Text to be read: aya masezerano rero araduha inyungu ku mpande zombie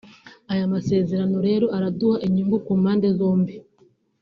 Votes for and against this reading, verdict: 0, 2, rejected